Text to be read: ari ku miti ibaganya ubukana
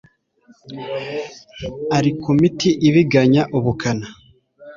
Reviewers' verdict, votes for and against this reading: rejected, 0, 2